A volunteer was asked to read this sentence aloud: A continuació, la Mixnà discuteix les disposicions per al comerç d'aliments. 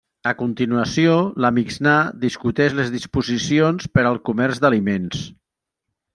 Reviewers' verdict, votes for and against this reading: accepted, 2, 1